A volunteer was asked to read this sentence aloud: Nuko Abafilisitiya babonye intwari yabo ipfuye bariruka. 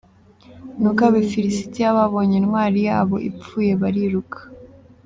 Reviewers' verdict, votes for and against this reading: accepted, 3, 0